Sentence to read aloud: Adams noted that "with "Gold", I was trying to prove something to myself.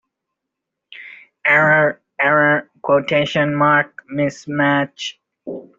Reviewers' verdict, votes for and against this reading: rejected, 0, 2